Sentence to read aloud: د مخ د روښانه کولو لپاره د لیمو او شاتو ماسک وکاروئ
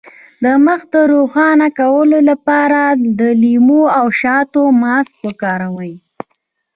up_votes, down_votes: 2, 0